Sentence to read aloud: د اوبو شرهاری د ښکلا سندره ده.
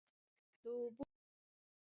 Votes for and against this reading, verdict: 1, 2, rejected